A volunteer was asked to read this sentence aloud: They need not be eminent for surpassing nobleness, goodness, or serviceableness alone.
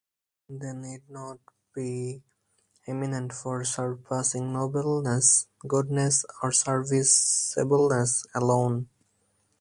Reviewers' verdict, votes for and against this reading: rejected, 2, 2